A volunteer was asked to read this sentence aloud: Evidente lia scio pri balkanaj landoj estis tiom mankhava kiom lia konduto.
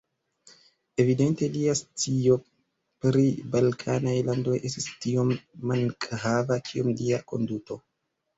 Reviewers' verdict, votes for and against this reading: rejected, 0, 2